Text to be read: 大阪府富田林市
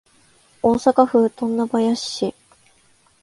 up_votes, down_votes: 2, 0